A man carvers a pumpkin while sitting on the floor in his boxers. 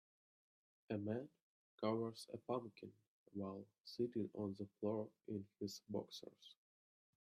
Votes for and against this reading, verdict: 2, 0, accepted